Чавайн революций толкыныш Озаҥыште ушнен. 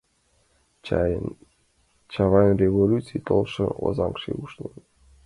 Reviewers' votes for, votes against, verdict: 0, 2, rejected